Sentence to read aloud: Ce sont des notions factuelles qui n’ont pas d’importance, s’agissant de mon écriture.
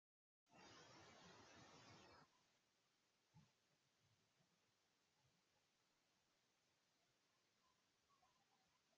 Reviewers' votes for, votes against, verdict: 0, 2, rejected